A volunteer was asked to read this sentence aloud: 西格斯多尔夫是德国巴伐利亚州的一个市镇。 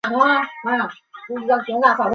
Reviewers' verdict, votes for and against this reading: rejected, 0, 2